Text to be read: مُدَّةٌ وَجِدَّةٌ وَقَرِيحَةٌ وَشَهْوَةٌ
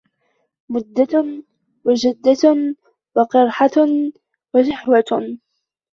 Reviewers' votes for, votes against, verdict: 0, 2, rejected